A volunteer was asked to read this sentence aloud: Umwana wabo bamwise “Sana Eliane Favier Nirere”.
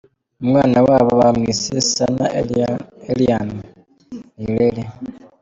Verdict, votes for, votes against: rejected, 0, 2